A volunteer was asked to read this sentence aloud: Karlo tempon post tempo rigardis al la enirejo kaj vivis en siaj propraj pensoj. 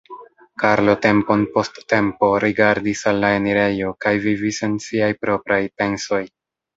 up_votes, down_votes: 2, 0